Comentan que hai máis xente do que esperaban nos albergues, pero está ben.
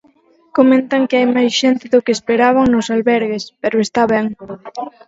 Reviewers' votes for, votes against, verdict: 4, 0, accepted